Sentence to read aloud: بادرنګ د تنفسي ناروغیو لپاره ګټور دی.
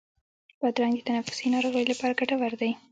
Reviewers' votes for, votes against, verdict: 2, 0, accepted